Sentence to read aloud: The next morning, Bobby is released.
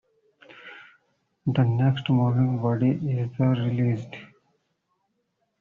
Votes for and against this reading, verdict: 0, 2, rejected